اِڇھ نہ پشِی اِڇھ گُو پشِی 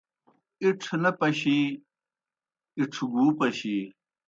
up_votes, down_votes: 2, 0